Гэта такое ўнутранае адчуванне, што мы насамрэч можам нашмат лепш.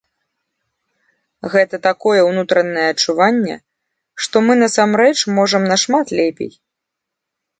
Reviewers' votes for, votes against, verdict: 1, 2, rejected